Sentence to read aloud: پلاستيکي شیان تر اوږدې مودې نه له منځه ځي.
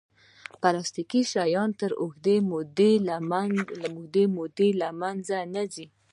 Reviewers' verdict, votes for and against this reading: accepted, 2, 0